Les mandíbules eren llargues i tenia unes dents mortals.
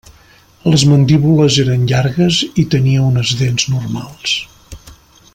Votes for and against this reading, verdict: 0, 2, rejected